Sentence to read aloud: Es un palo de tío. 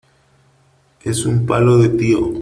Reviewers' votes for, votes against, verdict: 3, 1, accepted